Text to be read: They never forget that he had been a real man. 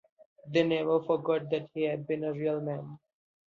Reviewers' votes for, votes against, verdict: 1, 2, rejected